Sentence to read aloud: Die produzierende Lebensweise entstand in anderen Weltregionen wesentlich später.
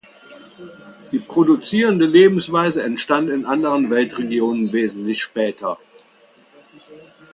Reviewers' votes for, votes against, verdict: 2, 0, accepted